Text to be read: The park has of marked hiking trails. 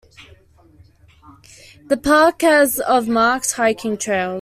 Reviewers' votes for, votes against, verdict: 1, 2, rejected